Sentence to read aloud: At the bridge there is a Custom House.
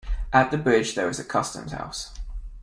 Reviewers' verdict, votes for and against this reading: rejected, 0, 2